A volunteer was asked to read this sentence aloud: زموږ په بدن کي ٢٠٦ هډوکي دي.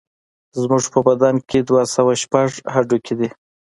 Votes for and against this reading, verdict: 0, 2, rejected